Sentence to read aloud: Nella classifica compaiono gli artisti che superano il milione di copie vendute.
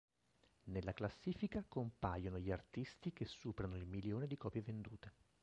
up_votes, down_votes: 1, 3